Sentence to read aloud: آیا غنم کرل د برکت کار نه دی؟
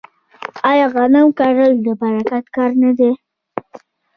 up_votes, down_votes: 2, 0